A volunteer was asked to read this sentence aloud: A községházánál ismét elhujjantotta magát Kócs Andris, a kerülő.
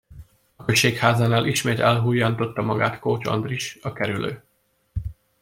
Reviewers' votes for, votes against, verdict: 2, 0, accepted